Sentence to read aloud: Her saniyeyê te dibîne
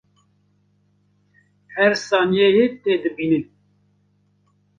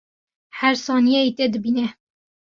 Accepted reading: second